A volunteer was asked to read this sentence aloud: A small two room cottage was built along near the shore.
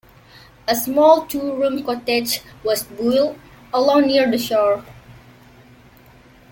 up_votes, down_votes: 1, 2